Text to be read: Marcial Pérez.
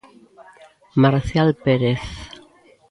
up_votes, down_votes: 2, 1